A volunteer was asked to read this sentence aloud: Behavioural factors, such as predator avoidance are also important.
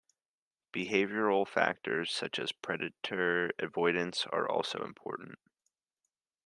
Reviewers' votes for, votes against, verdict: 2, 0, accepted